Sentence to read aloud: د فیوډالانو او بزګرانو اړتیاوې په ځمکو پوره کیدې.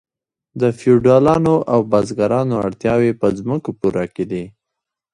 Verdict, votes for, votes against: accepted, 2, 1